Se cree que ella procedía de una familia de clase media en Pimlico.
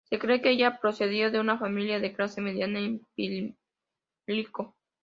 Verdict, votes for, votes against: rejected, 0, 2